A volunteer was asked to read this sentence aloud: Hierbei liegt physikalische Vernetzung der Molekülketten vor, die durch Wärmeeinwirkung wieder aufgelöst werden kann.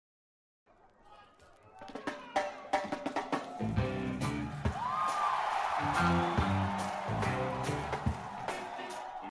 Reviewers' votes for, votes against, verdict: 0, 2, rejected